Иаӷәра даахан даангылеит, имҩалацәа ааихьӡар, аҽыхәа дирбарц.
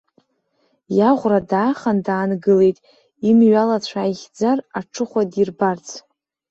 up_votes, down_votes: 2, 0